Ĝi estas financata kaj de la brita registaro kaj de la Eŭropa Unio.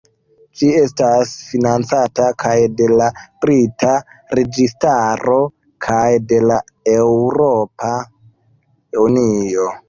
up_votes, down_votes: 1, 2